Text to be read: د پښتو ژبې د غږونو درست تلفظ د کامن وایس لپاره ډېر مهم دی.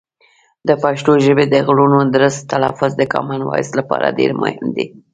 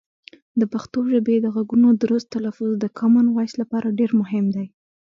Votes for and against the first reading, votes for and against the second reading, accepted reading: 1, 2, 2, 0, second